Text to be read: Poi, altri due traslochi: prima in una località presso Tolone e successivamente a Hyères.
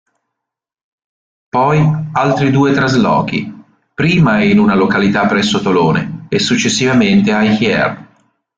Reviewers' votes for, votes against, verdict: 1, 2, rejected